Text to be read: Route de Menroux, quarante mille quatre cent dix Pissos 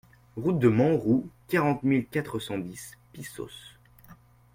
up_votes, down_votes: 2, 0